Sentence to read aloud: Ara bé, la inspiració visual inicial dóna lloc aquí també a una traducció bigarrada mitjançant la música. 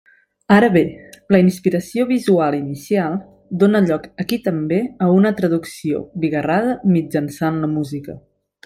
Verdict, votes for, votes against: accepted, 6, 0